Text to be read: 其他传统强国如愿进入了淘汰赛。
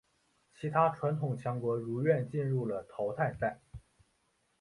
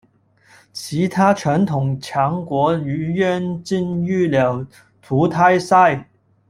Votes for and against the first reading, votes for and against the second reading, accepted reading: 3, 0, 1, 2, first